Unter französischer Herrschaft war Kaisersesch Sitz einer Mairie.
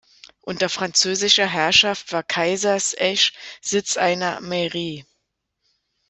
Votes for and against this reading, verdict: 2, 0, accepted